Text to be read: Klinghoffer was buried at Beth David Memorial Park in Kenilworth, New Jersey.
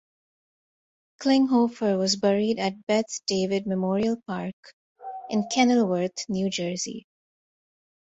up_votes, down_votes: 2, 0